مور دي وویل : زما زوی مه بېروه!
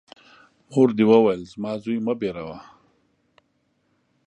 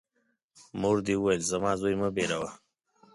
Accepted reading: second